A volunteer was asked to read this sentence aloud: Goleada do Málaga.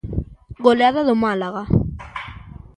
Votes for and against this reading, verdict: 2, 0, accepted